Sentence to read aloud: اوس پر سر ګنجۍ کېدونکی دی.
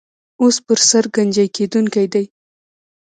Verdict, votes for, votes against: accepted, 2, 1